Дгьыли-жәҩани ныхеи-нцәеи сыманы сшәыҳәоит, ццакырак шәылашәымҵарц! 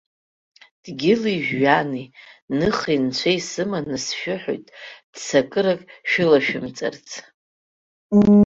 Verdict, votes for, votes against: accepted, 3, 0